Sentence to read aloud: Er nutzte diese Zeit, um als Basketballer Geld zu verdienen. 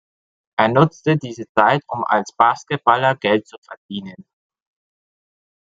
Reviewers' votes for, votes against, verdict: 2, 0, accepted